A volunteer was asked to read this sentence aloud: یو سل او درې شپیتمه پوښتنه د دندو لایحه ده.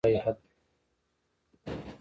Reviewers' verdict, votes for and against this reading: rejected, 1, 2